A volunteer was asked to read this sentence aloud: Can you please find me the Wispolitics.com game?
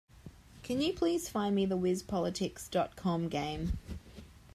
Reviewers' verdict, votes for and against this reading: accepted, 4, 0